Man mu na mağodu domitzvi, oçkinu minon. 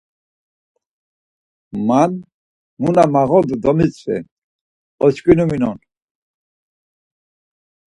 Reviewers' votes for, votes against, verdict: 4, 0, accepted